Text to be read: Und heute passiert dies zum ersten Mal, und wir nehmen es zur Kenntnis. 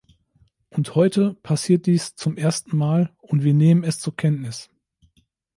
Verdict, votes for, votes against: accepted, 2, 0